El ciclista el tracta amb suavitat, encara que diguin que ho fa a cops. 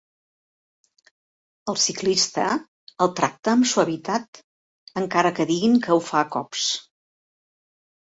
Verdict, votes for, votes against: accepted, 2, 0